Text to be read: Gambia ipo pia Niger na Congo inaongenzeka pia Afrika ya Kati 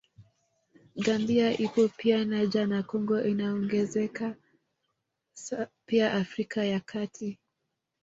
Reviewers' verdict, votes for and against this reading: rejected, 1, 2